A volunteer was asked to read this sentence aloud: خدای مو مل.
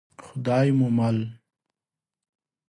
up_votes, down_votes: 5, 0